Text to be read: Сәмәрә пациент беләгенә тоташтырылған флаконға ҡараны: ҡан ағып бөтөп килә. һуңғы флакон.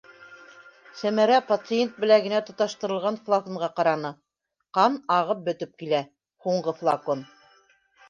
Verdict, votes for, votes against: rejected, 1, 2